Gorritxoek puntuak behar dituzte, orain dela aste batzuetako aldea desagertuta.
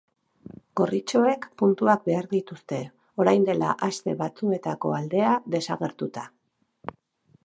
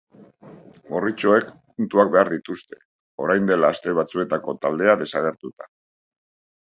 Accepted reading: first